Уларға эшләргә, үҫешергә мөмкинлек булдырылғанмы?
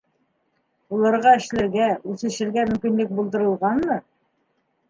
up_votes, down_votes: 1, 2